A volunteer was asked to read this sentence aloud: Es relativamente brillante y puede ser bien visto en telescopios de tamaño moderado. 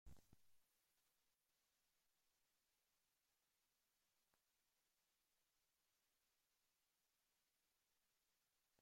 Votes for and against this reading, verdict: 0, 2, rejected